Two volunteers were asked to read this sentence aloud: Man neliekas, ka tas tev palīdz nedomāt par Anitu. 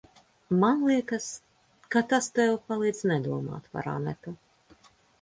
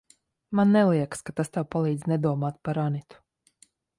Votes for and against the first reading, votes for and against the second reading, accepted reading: 0, 2, 2, 0, second